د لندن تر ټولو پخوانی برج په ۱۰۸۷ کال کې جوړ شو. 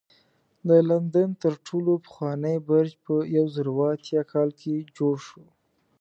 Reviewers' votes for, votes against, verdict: 0, 2, rejected